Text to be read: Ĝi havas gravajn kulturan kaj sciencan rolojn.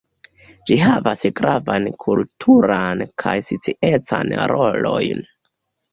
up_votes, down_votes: 1, 2